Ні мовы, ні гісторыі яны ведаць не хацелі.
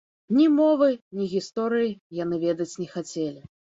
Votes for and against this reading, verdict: 2, 0, accepted